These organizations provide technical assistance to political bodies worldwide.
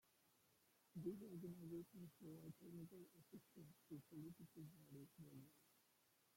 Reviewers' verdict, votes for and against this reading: rejected, 0, 2